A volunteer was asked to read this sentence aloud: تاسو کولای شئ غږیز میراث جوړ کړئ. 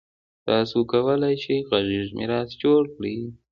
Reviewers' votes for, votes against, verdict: 2, 0, accepted